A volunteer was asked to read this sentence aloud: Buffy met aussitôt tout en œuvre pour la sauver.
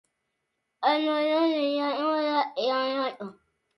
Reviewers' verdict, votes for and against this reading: rejected, 0, 2